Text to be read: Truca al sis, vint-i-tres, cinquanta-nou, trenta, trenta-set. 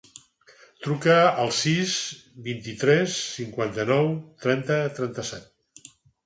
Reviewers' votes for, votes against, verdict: 6, 0, accepted